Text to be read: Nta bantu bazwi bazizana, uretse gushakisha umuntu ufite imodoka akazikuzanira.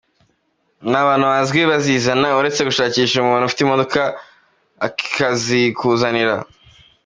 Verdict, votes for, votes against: accepted, 2, 0